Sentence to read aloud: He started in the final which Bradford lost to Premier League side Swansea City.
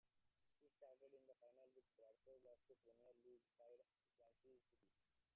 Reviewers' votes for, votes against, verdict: 0, 3, rejected